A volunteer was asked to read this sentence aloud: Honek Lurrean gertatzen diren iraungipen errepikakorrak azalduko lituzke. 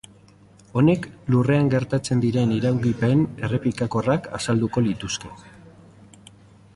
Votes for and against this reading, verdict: 2, 0, accepted